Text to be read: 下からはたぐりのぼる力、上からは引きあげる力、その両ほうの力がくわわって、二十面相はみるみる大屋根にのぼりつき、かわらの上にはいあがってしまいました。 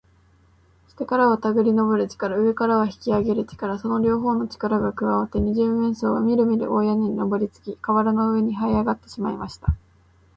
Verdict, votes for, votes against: accepted, 2, 0